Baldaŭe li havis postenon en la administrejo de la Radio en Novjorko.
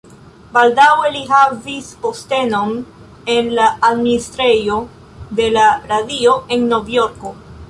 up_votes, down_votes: 1, 2